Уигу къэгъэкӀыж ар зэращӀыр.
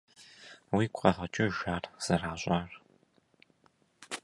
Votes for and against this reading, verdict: 1, 2, rejected